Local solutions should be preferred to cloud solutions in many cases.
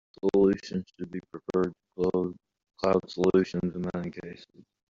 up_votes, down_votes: 0, 2